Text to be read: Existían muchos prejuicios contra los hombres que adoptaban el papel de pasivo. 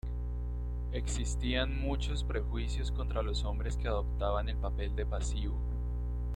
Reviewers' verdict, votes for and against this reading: accepted, 2, 0